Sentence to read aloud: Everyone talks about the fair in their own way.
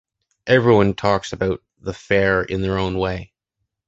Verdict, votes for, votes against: accepted, 2, 0